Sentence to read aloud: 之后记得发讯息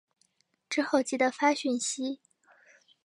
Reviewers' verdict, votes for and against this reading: accepted, 3, 1